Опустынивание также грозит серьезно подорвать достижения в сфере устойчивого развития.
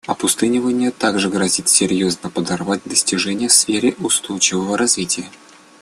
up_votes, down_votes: 2, 0